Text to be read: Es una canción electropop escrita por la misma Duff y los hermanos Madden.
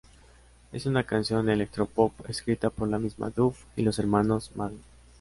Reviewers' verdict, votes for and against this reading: accepted, 2, 0